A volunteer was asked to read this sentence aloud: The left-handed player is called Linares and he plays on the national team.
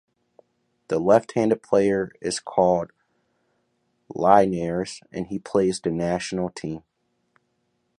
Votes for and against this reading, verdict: 0, 3, rejected